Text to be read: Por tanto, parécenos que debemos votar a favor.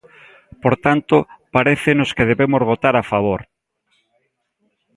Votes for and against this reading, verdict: 2, 0, accepted